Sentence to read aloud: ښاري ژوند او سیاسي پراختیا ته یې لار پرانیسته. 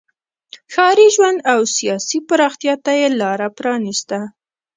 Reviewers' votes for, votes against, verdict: 0, 2, rejected